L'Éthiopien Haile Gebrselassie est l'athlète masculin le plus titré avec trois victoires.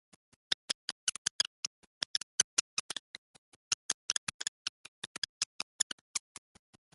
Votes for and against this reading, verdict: 0, 3, rejected